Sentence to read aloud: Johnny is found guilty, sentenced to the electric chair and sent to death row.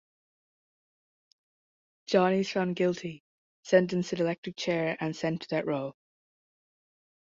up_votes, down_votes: 1, 3